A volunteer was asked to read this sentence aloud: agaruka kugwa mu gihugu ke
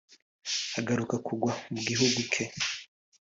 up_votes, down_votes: 3, 0